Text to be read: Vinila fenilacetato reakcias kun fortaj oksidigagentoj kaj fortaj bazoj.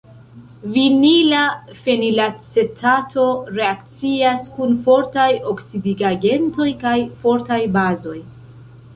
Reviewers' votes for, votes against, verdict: 2, 3, rejected